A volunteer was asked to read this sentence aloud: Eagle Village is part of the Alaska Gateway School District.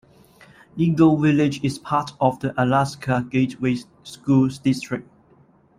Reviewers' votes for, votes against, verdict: 1, 2, rejected